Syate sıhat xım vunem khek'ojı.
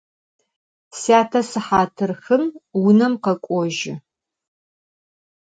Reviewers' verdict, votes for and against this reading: accepted, 4, 0